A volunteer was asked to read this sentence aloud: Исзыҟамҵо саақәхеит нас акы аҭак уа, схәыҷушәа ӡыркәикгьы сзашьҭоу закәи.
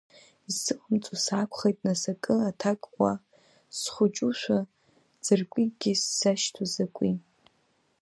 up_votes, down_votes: 2, 0